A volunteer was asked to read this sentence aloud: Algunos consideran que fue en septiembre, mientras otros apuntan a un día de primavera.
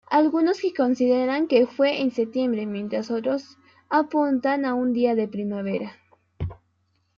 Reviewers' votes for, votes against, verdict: 2, 1, accepted